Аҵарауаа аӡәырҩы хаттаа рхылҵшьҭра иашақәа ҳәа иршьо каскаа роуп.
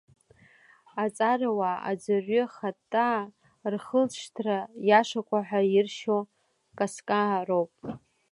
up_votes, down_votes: 0, 2